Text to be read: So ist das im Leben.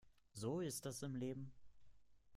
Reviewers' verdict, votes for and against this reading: accepted, 2, 0